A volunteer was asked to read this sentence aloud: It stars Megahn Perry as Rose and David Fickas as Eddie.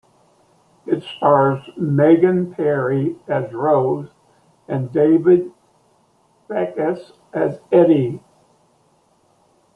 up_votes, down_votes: 2, 1